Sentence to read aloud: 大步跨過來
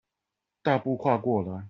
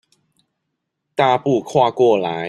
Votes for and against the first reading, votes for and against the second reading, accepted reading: 4, 0, 1, 2, first